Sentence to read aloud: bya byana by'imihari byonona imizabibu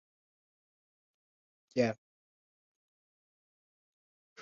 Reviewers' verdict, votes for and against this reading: rejected, 0, 2